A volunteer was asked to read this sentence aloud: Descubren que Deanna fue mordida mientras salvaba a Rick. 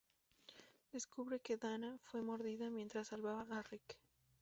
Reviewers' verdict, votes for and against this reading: rejected, 0, 2